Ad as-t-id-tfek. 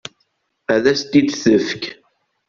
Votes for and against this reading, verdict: 2, 0, accepted